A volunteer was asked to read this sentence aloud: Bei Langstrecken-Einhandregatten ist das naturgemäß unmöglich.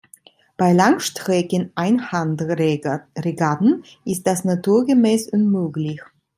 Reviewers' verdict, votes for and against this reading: rejected, 1, 2